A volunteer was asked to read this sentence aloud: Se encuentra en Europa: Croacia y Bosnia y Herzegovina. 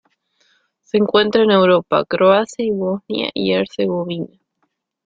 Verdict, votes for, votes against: rejected, 1, 2